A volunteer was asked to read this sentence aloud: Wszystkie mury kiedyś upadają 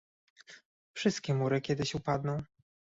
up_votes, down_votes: 1, 2